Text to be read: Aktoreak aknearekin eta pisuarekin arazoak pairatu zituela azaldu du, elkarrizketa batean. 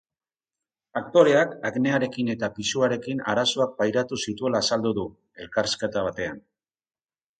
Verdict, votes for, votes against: accepted, 6, 0